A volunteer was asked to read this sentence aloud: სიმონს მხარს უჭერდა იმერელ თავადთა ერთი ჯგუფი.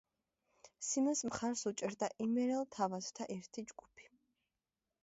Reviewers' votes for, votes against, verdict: 0, 2, rejected